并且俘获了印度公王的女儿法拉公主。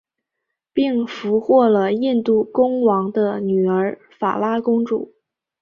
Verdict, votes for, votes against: accepted, 2, 1